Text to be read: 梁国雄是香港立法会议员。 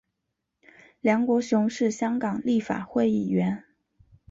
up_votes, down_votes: 5, 0